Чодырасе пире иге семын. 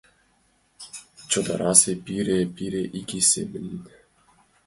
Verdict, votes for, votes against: rejected, 0, 2